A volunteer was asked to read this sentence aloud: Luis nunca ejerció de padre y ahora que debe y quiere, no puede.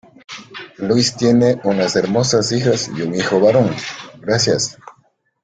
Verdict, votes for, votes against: rejected, 0, 2